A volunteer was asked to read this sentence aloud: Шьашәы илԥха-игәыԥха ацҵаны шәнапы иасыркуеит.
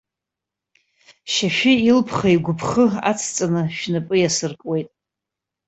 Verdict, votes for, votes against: rejected, 1, 2